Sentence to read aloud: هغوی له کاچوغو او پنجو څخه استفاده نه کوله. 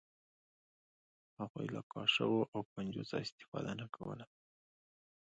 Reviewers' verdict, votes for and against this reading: accepted, 2, 0